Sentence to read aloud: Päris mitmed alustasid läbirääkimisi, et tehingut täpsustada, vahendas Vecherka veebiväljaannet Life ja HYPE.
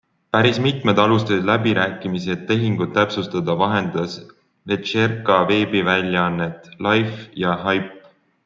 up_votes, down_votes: 2, 0